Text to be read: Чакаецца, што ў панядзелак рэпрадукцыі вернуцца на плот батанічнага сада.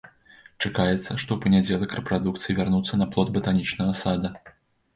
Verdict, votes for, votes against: rejected, 0, 2